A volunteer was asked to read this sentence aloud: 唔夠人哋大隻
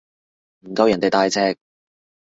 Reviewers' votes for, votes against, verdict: 2, 0, accepted